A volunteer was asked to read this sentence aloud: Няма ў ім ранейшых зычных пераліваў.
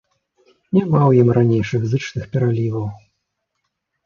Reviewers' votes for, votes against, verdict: 2, 0, accepted